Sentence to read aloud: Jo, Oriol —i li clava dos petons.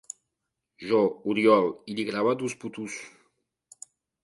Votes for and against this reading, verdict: 0, 2, rejected